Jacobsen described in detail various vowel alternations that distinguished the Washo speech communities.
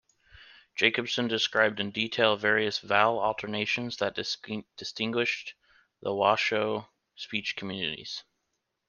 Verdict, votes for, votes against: rejected, 1, 2